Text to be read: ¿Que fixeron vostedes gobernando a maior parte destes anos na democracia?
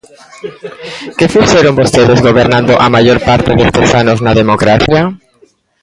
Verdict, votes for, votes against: rejected, 0, 2